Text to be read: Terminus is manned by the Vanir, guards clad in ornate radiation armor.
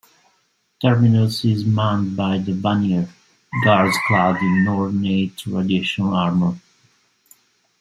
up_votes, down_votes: 1, 2